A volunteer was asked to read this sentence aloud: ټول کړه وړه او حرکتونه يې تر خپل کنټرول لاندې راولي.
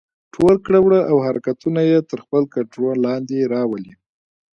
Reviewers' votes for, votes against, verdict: 2, 0, accepted